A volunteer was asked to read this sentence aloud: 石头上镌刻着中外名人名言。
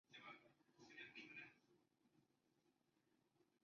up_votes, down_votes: 1, 3